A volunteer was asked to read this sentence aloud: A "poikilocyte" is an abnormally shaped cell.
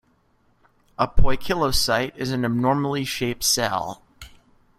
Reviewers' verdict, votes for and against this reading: accepted, 2, 0